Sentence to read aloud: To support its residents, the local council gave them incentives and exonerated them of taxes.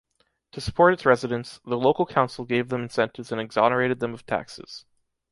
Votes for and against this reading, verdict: 2, 0, accepted